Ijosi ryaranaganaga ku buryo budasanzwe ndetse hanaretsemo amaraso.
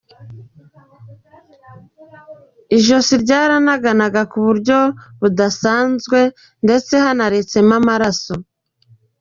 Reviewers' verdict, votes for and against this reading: accepted, 2, 0